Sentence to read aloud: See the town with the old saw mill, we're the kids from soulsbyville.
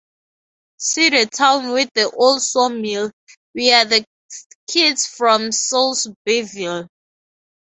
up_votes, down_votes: 2, 2